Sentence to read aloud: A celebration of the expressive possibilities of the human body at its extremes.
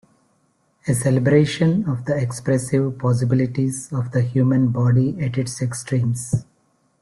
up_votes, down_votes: 2, 0